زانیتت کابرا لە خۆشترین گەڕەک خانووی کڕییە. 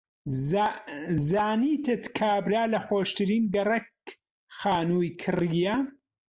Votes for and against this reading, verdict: 0, 2, rejected